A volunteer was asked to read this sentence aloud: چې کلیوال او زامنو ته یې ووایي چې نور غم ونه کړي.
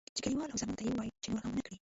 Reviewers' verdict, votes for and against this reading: rejected, 1, 2